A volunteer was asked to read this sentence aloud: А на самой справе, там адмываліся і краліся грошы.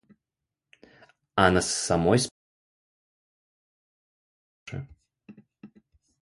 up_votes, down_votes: 0, 2